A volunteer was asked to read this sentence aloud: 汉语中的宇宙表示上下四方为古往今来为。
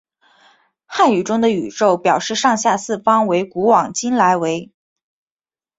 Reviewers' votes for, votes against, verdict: 2, 0, accepted